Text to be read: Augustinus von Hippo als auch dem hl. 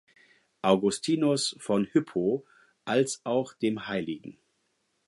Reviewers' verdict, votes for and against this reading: rejected, 0, 4